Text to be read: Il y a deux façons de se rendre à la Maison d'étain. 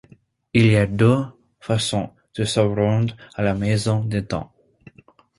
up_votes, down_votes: 0, 2